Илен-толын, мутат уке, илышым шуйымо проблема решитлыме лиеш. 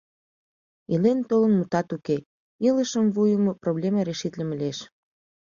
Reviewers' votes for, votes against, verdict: 1, 2, rejected